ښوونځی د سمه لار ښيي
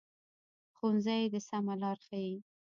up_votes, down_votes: 0, 2